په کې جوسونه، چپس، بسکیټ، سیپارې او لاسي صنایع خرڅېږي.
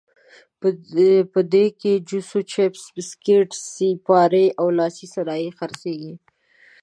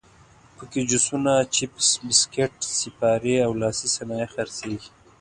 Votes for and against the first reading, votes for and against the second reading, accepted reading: 1, 2, 2, 0, second